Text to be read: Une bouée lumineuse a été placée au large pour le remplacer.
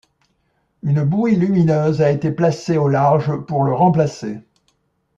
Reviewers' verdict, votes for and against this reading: accepted, 2, 0